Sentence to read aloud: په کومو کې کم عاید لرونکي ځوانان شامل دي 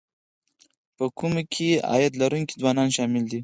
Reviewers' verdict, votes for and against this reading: rejected, 0, 4